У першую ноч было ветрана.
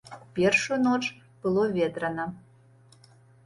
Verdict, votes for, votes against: accepted, 3, 0